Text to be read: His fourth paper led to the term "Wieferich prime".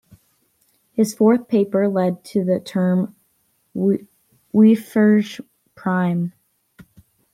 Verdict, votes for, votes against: rejected, 1, 2